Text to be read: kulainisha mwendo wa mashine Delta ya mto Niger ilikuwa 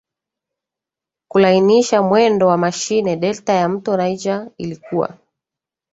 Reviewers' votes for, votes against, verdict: 2, 0, accepted